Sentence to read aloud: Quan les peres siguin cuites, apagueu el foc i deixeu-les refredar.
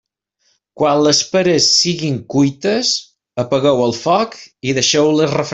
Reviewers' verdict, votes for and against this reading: rejected, 0, 2